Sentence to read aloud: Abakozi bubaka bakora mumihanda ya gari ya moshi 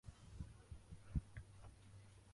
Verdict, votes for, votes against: rejected, 0, 2